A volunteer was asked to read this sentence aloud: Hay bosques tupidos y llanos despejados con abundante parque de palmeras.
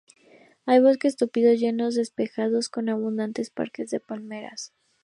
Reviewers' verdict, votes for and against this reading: rejected, 0, 2